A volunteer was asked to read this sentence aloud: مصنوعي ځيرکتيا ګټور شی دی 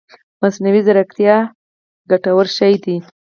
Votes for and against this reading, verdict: 4, 2, accepted